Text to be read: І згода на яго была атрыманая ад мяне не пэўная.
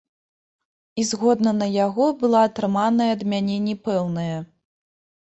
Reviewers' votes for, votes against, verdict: 1, 2, rejected